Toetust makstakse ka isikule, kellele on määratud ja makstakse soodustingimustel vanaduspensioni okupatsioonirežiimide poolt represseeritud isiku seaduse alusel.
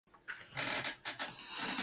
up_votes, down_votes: 0, 2